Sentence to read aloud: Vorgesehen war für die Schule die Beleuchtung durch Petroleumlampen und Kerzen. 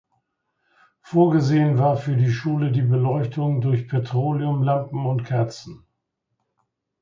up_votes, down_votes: 2, 0